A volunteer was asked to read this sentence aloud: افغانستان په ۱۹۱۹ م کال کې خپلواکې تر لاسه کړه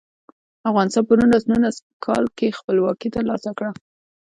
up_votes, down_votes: 0, 2